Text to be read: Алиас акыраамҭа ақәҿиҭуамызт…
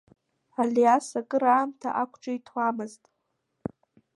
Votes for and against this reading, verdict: 2, 1, accepted